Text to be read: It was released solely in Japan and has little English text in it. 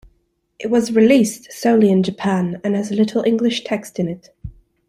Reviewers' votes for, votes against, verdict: 2, 0, accepted